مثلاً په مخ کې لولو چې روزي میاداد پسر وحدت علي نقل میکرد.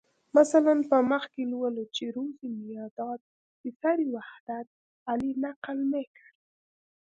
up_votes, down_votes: 1, 2